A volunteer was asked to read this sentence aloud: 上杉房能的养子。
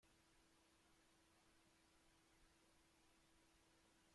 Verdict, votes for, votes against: rejected, 0, 2